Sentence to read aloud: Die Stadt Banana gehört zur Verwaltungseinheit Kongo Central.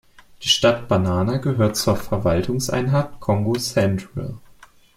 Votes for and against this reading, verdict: 2, 0, accepted